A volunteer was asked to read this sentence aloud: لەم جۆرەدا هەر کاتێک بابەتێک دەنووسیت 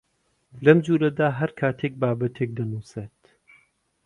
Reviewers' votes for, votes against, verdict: 0, 2, rejected